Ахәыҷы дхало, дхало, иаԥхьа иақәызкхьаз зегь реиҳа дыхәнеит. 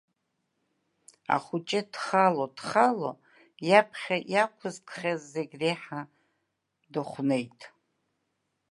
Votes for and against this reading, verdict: 2, 0, accepted